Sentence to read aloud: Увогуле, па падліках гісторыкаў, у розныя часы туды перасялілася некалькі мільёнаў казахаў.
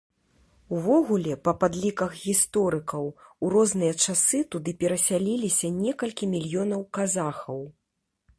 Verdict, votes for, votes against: rejected, 0, 2